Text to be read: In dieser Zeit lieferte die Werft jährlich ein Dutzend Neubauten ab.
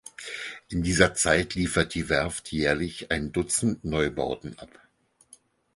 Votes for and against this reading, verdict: 2, 4, rejected